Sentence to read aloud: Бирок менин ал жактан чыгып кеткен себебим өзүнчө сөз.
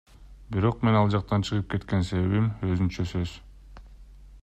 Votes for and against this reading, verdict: 2, 0, accepted